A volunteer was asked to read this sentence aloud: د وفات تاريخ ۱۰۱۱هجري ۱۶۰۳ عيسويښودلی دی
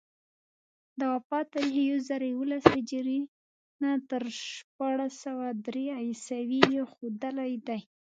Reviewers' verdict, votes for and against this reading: rejected, 0, 2